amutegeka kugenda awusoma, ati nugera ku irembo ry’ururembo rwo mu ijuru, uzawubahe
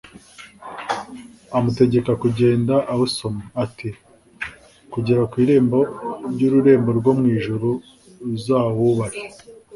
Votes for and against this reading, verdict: 1, 2, rejected